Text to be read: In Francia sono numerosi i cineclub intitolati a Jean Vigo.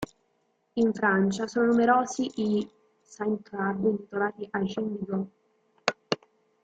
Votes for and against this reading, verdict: 0, 2, rejected